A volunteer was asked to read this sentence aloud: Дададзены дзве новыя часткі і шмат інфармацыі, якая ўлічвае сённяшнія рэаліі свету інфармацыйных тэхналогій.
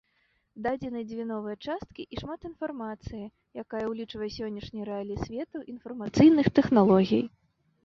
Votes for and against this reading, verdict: 2, 1, accepted